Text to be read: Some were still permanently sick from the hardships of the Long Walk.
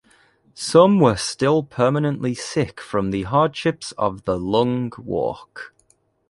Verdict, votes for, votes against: accepted, 2, 0